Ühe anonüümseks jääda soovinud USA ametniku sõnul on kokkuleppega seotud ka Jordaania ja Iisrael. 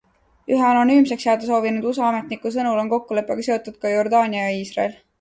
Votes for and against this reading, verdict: 2, 0, accepted